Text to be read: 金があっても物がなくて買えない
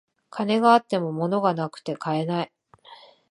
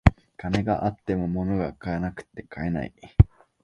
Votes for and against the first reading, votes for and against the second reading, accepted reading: 2, 0, 0, 2, first